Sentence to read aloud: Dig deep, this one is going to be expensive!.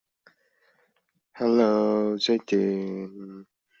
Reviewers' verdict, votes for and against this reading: rejected, 0, 2